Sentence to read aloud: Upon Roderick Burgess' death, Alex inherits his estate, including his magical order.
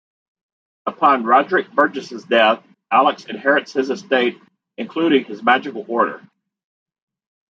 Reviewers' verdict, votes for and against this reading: rejected, 1, 2